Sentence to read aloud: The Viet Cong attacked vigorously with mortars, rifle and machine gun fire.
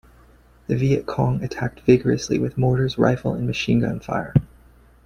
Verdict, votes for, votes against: accepted, 2, 0